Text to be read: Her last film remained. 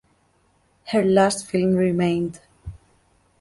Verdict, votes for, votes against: accepted, 2, 1